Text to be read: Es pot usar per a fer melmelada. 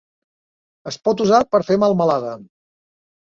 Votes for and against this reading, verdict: 0, 2, rejected